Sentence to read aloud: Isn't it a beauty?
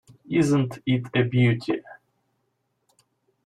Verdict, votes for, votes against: rejected, 0, 2